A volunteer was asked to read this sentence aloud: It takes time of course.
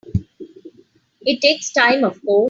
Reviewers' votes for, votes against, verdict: 2, 5, rejected